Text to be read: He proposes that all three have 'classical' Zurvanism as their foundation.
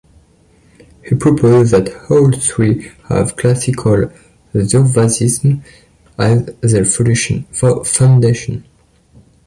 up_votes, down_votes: 0, 2